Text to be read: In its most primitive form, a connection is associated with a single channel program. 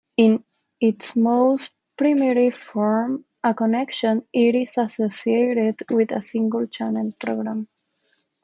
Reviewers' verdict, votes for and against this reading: accepted, 2, 0